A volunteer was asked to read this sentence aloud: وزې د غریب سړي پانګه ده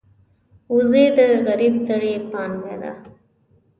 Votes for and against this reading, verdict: 2, 0, accepted